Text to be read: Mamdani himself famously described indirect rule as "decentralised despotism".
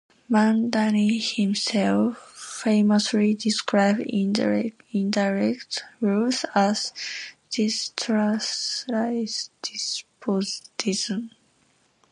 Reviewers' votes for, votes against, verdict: 0, 2, rejected